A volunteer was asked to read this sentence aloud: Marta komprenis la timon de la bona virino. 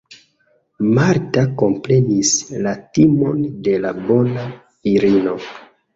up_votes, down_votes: 2, 0